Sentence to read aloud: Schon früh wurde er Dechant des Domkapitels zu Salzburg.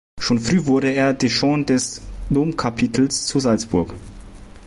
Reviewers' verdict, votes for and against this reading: rejected, 0, 2